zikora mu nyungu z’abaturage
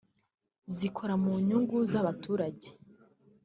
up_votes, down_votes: 2, 0